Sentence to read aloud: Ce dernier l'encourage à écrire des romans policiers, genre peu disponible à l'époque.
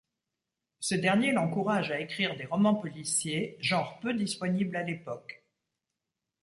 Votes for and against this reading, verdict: 2, 0, accepted